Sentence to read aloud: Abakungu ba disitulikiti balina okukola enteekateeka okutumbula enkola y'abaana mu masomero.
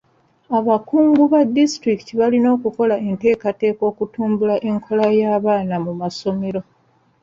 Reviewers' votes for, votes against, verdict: 2, 0, accepted